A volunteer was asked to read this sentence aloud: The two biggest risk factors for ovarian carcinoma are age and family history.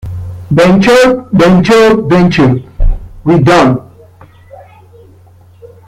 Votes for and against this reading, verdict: 0, 2, rejected